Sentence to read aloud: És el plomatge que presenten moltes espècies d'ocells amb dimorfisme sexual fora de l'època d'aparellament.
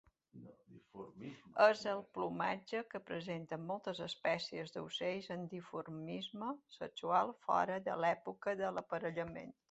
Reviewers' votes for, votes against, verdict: 0, 2, rejected